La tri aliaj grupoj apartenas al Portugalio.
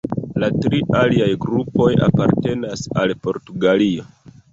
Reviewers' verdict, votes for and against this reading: rejected, 1, 2